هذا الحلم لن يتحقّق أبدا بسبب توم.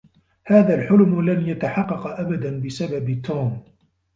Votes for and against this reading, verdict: 1, 2, rejected